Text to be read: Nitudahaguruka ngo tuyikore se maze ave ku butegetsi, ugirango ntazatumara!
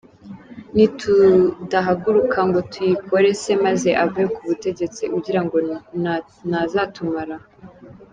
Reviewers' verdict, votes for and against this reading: rejected, 1, 2